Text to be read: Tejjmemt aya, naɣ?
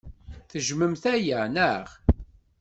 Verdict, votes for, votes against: accepted, 2, 0